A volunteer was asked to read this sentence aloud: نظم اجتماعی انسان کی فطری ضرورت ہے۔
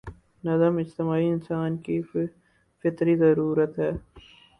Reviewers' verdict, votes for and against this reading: rejected, 2, 2